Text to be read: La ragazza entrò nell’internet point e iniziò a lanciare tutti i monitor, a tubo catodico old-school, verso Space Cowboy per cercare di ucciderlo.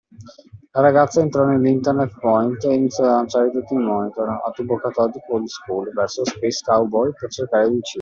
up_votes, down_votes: 2, 0